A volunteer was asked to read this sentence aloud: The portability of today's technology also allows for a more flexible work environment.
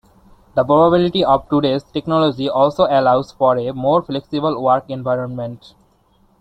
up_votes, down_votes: 1, 2